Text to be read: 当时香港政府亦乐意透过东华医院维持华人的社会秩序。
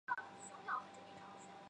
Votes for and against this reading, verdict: 0, 2, rejected